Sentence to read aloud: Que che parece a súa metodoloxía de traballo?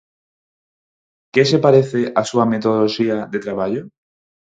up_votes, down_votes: 2, 4